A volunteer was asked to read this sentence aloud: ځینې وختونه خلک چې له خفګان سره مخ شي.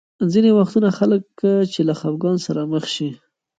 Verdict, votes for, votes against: rejected, 1, 2